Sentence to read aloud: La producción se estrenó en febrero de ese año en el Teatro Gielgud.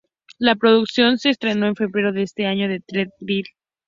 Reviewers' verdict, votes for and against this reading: rejected, 0, 2